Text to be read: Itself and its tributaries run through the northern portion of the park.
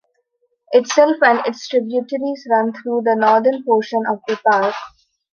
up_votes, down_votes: 2, 0